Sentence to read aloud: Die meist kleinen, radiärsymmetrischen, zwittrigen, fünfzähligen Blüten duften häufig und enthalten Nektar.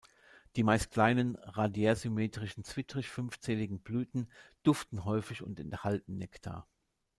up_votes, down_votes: 0, 2